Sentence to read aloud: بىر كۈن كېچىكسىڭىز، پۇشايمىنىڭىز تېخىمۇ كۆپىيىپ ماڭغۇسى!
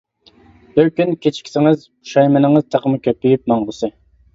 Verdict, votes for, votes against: rejected, 1, 2